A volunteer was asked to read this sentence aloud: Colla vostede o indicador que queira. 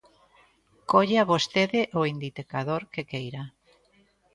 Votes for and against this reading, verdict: 1, 2, rejected